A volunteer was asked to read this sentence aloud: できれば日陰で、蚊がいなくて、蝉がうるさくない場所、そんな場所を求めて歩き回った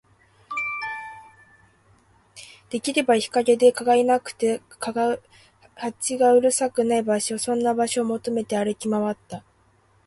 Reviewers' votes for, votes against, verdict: 1, 2, rejected